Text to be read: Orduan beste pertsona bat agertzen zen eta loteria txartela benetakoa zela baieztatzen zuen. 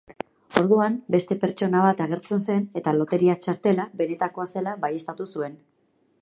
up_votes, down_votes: 0, 4